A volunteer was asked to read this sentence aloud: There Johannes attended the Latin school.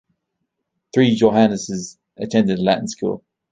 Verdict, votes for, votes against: rejected, 1, 2